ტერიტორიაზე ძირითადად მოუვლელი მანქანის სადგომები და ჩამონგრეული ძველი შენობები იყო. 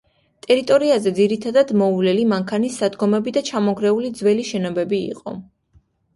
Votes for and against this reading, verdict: 2, 0, accepted